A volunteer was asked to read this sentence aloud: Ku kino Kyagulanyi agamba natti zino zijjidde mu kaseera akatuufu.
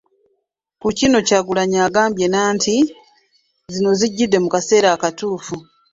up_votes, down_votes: 1, 2